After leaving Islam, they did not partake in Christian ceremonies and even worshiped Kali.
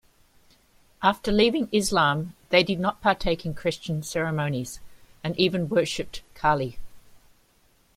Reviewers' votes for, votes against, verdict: 2, 0, accepted